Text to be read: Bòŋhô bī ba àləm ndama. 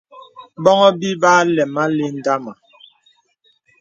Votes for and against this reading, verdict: 2, 0, accepted